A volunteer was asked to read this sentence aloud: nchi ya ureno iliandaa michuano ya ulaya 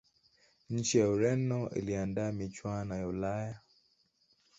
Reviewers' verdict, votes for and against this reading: rejected, 1, 2